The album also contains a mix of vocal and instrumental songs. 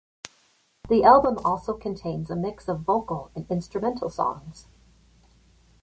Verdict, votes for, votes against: accepted, 2, 0